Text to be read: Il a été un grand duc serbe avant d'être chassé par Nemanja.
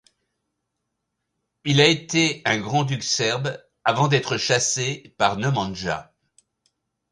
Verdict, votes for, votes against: accepted, 2, 0